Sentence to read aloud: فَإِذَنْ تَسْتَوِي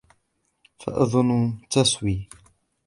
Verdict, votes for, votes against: rejected, 1, 2